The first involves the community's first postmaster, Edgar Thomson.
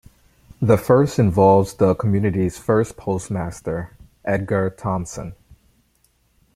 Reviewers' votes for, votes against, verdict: 2, 0, accepted